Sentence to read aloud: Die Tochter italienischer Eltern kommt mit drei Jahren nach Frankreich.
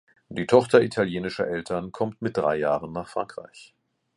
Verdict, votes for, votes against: accepted, 2, 0